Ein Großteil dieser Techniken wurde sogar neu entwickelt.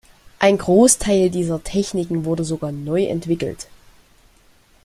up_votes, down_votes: 2, 0